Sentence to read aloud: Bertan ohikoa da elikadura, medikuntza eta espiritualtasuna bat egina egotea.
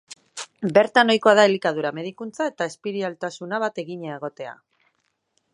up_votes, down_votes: 1, 2